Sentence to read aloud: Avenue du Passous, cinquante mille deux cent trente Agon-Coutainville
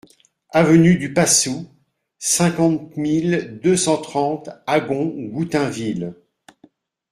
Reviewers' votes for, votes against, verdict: 0, 2, rejected